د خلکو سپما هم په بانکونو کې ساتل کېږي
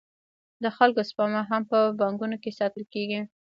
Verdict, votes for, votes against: rejected, 0, 2